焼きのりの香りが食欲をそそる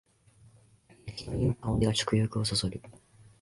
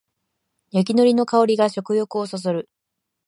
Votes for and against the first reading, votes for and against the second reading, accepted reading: 0, 2, 2, 0, second